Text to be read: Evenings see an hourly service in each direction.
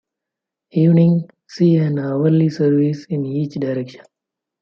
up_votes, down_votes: 2, 0